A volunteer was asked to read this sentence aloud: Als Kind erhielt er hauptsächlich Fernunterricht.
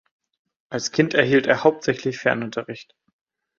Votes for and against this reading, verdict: 2, 0, accepted